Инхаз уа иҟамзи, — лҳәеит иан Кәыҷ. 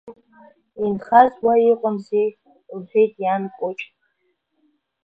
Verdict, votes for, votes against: rejected, 0, 2